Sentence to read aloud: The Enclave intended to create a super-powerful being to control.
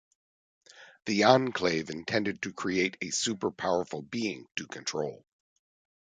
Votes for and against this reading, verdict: 2, 0, accepted